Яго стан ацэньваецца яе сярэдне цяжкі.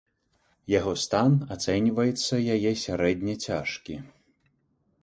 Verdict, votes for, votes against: accepted, 2, 0